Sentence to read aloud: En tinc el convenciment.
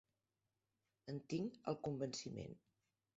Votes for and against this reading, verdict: 0, 2, rejected